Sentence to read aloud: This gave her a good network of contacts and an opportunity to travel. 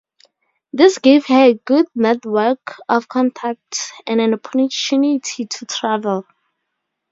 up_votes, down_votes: 2, 2